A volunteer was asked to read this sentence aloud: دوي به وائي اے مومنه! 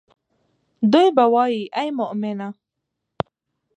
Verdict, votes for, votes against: rejected, 1, 2